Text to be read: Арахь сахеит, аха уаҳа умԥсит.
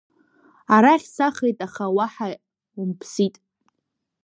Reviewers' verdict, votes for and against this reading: accepted, 2, 0